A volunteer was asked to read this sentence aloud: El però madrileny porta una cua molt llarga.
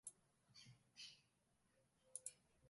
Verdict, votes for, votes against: rejected, 0, 2